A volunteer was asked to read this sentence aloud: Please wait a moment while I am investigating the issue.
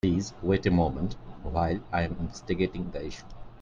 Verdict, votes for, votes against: accepted, 2, 0